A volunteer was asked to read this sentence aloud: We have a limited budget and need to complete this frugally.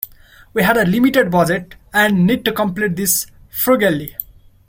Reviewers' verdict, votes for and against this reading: rejected, 1, 2